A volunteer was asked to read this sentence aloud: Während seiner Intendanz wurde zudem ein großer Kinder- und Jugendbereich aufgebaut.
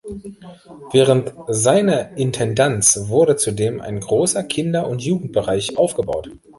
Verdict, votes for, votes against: rejected, 1, 2